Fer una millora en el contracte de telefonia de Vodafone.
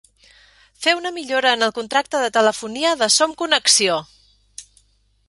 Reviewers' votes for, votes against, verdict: 0, 2, rejected